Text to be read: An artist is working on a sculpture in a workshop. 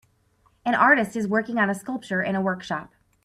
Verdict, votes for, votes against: accepted, 3, 1